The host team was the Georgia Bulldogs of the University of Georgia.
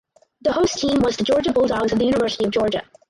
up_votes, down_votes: 2, 2